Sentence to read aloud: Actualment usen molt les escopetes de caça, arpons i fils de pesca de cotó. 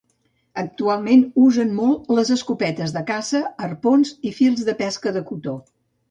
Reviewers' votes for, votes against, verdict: 2, 0, accepted